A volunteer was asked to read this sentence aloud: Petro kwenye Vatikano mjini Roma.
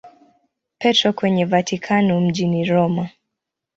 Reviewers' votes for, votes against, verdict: 2, 0, accepted